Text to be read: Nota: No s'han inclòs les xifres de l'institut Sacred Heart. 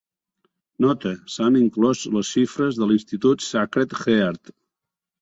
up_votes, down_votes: 0, 2